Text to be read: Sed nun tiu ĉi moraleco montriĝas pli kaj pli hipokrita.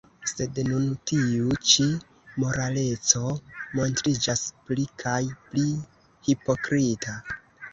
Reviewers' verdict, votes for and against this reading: rejected, 1, 2